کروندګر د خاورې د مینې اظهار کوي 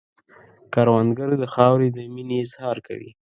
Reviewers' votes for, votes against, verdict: 2, 0, accepted